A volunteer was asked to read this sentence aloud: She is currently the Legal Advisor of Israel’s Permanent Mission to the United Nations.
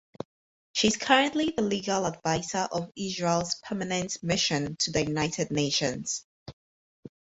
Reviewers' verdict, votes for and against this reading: accepted, 4, 0